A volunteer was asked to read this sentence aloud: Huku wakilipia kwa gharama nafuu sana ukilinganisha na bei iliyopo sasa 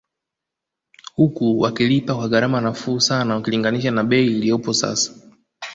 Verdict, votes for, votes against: rejected, 1, 2